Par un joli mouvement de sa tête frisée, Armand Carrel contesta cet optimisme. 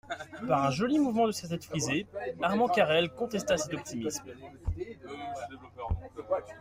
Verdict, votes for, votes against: accepted, 2, 0